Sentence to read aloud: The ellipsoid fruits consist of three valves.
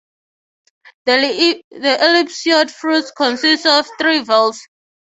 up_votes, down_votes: 0, 3